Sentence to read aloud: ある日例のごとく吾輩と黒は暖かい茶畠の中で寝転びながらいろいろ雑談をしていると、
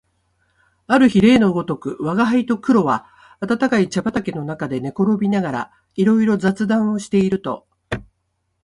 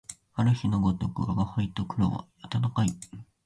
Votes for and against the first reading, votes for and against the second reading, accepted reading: 4, 1, 1, 2, first